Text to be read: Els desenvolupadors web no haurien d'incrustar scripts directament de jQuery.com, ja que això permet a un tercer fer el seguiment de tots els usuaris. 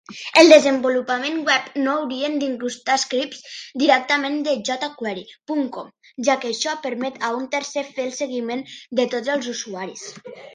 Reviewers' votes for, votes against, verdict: 0, 2, rejected